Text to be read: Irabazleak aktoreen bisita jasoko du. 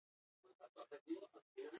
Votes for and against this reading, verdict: 0, 4, rejected